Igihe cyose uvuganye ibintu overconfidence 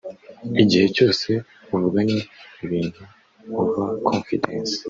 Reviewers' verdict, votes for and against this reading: rejected, 0, 2